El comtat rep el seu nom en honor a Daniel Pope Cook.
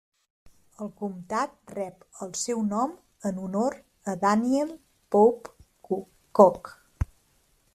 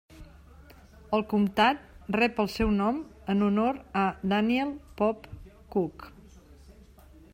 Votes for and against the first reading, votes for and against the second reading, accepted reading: 3, 4, 2, 0, second